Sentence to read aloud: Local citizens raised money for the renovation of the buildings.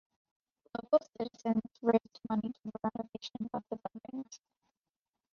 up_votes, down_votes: 0, 2